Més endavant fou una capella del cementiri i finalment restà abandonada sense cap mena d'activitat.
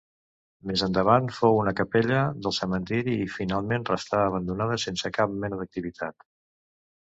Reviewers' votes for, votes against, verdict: 3, 0, accepted